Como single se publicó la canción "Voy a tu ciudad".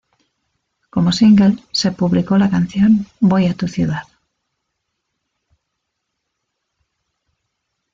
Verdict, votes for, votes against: accepted, 2, 1